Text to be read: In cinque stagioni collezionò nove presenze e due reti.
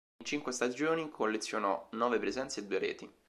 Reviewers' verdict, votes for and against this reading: accepted, 3, 0